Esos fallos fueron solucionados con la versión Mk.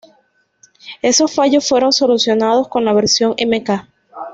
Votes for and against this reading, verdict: 2, 0, accepted